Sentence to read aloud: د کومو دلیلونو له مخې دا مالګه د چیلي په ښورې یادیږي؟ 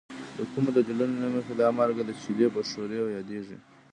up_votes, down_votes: 1, 2